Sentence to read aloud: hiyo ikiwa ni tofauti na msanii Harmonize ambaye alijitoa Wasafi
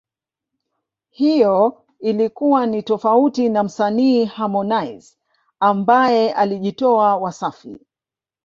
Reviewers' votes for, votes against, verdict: 2, 3, rejected